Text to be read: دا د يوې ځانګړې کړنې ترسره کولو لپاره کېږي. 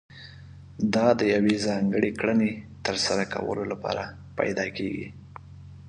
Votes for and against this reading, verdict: 1, 2, rejected